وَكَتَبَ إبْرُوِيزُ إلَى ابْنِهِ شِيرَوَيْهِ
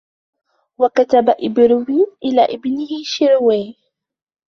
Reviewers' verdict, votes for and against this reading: rejected, 0, 2